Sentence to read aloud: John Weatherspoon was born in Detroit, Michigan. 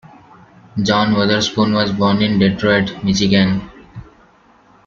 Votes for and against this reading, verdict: 2, 1, accepted